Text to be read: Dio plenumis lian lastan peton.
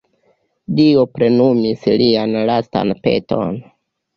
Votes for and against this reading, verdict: 2, 1, accepted